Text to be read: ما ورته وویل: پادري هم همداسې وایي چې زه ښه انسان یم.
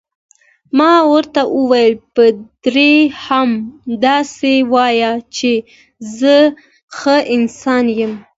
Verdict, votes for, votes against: accepted, 2, 0